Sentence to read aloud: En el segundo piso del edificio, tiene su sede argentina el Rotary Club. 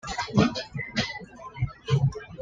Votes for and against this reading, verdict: 1, 2, rejected